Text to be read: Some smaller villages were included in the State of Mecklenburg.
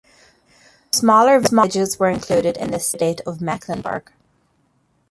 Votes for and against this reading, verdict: 0, 2, rejected